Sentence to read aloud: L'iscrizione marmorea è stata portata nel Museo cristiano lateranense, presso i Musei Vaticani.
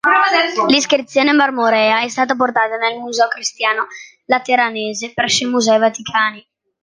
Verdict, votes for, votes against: rejected, 0, 2